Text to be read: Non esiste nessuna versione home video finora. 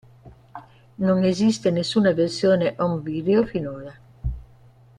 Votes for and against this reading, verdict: 2, 0, accepted